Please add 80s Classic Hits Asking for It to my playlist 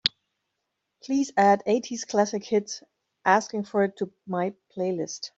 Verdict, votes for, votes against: rejected, 0, 2